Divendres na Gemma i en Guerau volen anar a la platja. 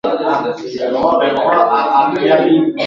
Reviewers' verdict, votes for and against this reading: rejected, 1, 2